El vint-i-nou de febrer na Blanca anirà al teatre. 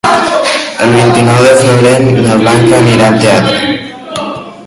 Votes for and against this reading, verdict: 1, 2, rejected